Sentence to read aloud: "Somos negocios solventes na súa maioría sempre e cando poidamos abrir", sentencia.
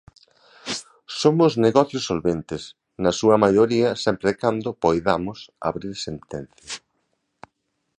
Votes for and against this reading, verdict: 0, 2, rejected